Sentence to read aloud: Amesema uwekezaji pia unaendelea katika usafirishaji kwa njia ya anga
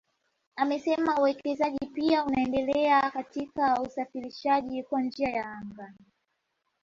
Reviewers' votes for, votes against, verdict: 2, 0, accepted